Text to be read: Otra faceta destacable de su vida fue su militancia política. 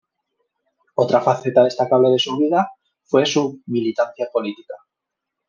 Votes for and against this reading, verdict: 1, 2, rejected